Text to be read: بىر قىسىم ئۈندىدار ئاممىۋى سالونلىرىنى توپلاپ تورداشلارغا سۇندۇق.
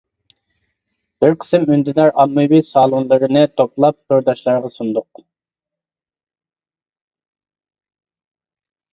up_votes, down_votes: 2, 0